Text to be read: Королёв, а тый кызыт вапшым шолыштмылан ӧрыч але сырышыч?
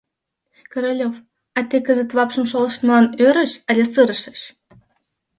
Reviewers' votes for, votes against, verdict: 0, 2, rejected